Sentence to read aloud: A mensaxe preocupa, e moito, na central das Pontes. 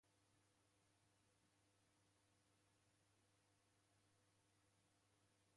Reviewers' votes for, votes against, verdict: 0, 2, rejected